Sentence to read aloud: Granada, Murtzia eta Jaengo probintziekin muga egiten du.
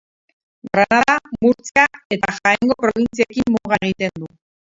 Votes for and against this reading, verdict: 0, 6, rejected